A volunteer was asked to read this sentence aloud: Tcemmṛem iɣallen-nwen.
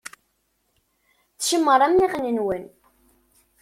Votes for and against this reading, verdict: 1, 2, rejected